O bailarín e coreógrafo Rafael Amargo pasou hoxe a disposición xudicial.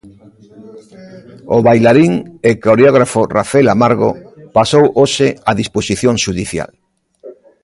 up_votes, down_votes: 1, 2